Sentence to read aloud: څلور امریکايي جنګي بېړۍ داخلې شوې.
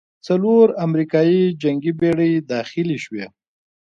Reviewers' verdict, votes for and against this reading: accepted, 2, 1